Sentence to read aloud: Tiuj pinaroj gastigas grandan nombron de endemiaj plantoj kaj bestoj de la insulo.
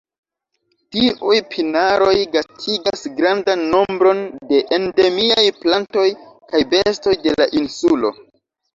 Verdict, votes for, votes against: rejected, 1, 2